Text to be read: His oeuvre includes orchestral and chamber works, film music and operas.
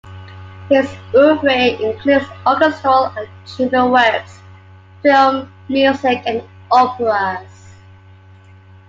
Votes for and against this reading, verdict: 2, 0, accepted